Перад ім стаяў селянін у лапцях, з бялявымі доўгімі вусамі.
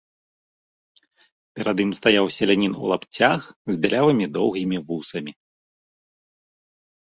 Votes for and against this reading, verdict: 3, 0, accepted